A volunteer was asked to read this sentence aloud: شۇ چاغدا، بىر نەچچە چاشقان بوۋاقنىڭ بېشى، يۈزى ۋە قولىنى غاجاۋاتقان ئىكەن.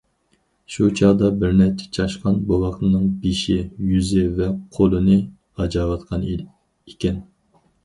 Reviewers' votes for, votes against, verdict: 2, 4, rejected